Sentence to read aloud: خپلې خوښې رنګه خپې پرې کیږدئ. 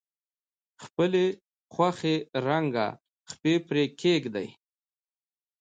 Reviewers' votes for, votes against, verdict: 0, 2, rejected